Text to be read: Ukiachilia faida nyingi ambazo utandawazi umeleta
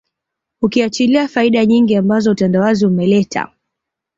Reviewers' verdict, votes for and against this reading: accepted, 2, 0